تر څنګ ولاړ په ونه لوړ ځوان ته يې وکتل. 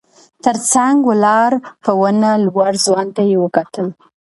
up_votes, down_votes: 2, 0